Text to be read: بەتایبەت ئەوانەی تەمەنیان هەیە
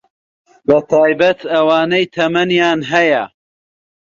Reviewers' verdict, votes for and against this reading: accepted, 2, 0